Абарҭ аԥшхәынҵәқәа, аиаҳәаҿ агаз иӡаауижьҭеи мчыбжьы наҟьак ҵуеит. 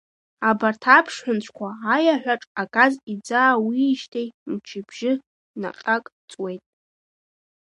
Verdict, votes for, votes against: accepted, 2, 1